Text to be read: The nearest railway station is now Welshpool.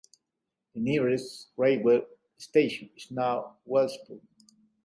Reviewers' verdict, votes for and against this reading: rejected, 1, 2